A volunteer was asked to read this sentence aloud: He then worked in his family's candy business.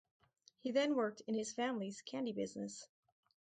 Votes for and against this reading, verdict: 2, 0, accepted